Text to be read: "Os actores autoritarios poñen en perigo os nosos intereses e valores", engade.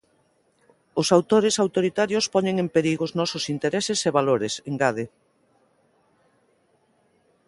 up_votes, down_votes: 0, 2